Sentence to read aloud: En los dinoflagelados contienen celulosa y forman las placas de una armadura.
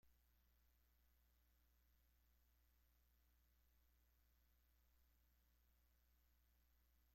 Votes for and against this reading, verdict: 0, 3, rejected